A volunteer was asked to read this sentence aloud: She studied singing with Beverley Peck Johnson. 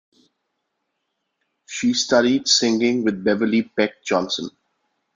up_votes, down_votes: 2, 0